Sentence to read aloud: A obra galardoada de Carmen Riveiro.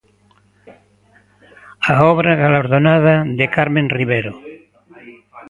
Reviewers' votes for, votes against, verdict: 0, 2, rejected